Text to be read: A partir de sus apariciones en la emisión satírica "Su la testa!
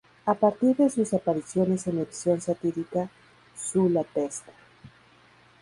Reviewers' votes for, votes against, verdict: 2, 2, rejected